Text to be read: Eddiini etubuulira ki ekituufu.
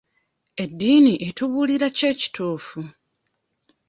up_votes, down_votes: 1, 2